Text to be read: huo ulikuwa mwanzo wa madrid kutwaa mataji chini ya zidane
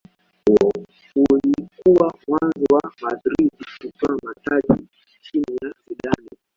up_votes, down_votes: 0, 2